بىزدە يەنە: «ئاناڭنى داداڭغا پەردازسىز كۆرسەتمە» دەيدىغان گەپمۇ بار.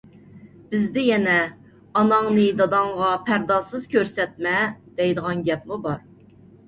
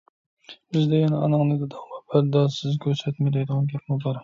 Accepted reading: first